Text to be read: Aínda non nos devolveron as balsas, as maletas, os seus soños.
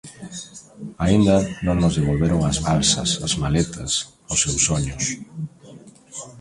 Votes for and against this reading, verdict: 2, 1, accepted